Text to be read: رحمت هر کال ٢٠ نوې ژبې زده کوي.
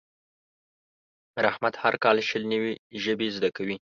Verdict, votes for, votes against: rejected, 0, 2